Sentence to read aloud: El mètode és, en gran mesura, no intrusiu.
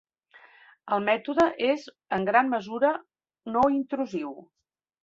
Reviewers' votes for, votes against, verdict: 4, 0, accepted